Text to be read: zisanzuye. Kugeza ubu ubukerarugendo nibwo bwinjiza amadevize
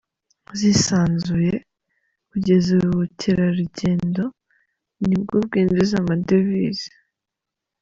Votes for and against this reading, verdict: 2, 0, accepted